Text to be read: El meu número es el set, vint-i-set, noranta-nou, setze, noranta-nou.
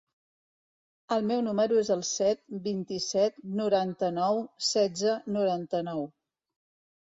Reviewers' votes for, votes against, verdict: 2, 0, accepted